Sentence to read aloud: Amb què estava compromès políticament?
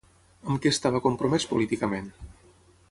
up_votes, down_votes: 6, 3